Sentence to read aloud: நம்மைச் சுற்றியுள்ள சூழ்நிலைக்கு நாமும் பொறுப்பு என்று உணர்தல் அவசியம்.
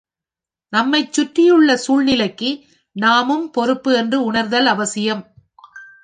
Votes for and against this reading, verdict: 2, 1, accepted